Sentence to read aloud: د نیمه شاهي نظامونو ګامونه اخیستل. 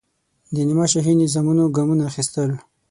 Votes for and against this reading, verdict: 6, 0, accepted